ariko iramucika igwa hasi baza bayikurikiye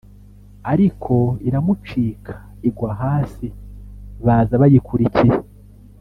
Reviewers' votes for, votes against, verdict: 1, 2, rejected